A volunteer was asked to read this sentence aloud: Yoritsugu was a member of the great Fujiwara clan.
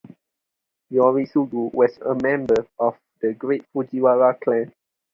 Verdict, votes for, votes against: accepted, 4, 0